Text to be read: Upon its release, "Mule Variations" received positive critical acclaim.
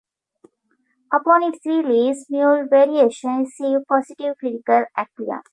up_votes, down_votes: 1, 2